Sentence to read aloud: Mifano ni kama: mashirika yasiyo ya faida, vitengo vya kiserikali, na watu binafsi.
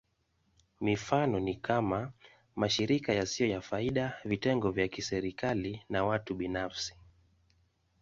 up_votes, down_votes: 2, 0